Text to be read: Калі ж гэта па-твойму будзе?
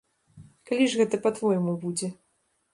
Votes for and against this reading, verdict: 2, 0, accepted